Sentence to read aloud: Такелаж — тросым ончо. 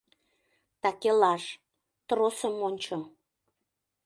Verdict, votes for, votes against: accepted, 3, 0